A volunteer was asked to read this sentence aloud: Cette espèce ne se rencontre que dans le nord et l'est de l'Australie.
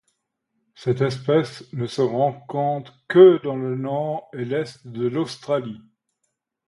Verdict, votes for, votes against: accepted, 2, 0